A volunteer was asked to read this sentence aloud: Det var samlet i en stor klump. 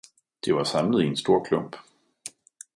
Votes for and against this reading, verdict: 2, 0, accepted